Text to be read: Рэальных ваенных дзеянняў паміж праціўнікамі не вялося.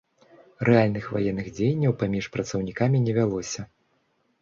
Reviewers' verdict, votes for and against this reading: rejected, 0, 2